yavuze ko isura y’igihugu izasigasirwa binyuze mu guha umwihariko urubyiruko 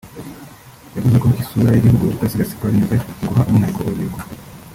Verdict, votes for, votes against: rejected, 0, 2